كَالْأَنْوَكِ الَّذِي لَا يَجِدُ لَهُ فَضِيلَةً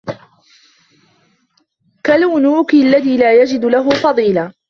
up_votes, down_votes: 0, 2